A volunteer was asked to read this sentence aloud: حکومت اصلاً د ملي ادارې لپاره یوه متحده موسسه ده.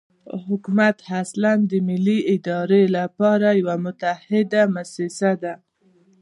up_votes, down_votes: 1, 2